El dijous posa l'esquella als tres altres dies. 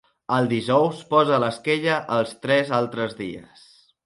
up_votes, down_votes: 2, 0